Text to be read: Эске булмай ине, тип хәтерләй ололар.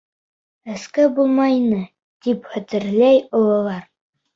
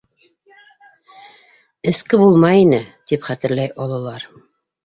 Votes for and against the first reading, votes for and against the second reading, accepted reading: 2, 0, 1, 2, first